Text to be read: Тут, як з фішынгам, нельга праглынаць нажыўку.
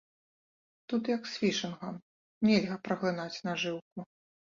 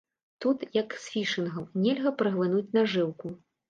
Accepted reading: first